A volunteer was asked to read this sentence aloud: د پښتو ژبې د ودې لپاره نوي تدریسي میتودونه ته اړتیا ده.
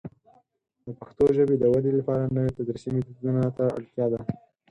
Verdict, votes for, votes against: rejected, 2, 4